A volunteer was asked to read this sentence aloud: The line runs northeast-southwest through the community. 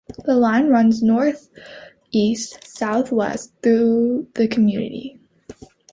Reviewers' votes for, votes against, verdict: 2, 0, accepted